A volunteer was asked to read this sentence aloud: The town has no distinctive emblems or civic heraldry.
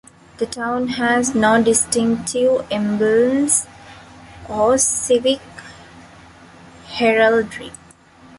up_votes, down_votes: 2, 1